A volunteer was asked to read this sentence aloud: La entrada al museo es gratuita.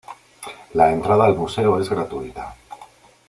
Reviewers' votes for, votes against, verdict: 2, 0, accepted